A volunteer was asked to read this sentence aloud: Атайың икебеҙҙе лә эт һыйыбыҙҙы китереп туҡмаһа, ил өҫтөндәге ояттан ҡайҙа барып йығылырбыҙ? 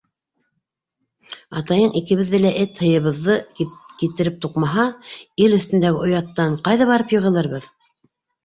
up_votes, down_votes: 1, 2